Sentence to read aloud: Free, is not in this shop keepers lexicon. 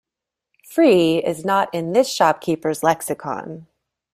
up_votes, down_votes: 2, 0